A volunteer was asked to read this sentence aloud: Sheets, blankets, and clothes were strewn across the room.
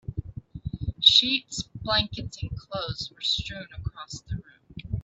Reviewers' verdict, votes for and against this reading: accepted, 2, 0